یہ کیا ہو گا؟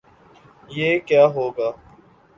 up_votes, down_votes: 2, 0